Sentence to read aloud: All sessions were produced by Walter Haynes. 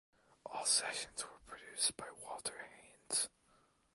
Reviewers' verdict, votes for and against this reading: rejected, 1, 2